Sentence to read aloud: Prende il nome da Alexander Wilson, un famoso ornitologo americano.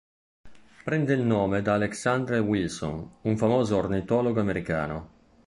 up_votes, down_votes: 2, 0